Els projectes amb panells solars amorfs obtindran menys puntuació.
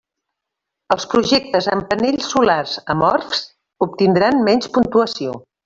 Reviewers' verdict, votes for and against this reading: rejected, 1, 2